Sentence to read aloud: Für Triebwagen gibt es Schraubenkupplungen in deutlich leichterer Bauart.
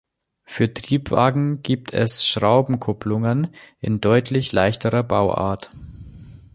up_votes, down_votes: 2, 0